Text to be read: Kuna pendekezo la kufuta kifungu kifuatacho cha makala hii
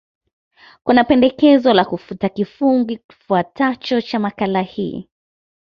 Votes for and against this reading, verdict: 1, 2, rejected